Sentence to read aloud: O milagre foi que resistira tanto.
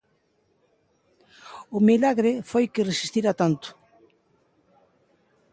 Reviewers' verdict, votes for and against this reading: accepted, 2, 0